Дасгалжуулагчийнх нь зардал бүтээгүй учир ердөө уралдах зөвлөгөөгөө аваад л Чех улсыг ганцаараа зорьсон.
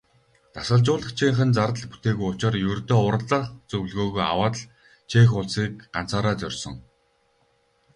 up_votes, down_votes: 2, 4